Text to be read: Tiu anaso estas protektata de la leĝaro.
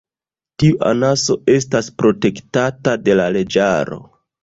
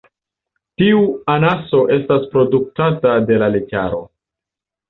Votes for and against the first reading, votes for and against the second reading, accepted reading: 2, 1, 0, 2, first